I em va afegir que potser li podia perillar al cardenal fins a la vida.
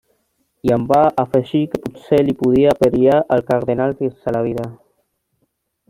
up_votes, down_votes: 1, 2